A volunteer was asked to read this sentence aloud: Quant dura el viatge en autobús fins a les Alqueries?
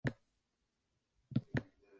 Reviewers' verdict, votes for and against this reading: rejected, 0, 2